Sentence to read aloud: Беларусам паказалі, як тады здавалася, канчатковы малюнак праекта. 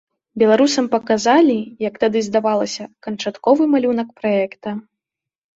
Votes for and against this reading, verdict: 2, 0, accepted